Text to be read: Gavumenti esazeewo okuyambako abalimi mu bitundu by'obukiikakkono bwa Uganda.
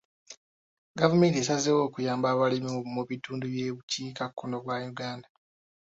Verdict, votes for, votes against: accepted, 2, 1